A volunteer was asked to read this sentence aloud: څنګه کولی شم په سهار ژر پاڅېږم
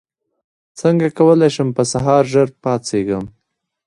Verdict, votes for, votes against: accepted, 2, 1